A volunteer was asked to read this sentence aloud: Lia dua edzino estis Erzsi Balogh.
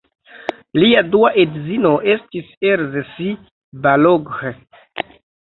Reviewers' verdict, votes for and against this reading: rejected, 0, 2